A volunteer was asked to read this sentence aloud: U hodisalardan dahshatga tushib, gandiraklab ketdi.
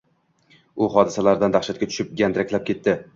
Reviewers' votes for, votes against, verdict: 2, 0, accepted